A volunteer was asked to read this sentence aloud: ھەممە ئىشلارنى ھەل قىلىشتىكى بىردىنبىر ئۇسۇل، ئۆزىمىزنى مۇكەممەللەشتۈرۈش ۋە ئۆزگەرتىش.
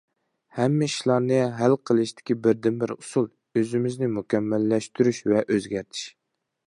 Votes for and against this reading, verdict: 2, 0, accepted